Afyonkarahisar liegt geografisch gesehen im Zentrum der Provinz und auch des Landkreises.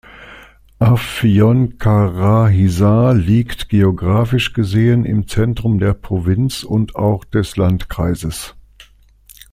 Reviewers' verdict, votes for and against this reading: accepted, 2, 0